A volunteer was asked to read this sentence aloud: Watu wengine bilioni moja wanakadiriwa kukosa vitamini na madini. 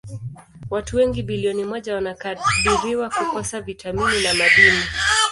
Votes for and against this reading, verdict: 1, 2, rejected